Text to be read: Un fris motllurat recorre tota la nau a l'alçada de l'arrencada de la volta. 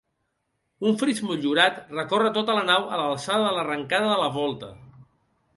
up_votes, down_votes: 0, 2